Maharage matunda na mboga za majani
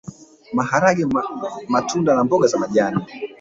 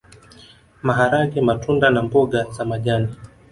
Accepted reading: second